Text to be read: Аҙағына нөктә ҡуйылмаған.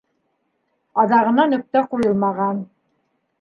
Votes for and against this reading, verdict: 2, 0, accepted